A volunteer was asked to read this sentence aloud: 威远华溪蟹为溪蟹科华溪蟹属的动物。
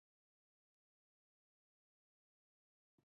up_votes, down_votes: 0, 3